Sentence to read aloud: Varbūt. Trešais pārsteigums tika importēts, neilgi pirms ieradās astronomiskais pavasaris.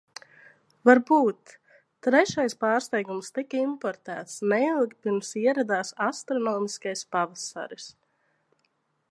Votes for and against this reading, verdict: 2, 0, accepted